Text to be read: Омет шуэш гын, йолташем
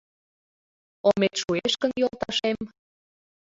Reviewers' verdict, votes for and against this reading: accepted, 2, 0